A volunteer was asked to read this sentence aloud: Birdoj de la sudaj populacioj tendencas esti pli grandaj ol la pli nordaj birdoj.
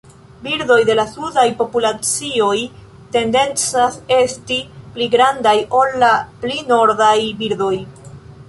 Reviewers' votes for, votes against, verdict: 1, 2, rejected